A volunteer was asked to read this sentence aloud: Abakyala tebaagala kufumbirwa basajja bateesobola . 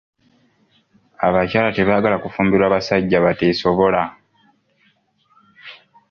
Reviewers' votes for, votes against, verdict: 2, 0, accepted